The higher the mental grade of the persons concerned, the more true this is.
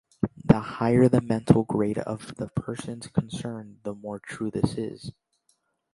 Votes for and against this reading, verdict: 2, 0, accepted